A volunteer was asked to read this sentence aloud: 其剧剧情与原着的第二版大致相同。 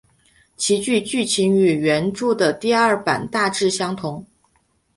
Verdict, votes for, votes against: accepted, 3, 0